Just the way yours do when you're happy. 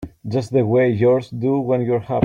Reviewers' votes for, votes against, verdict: 0, 2, rejected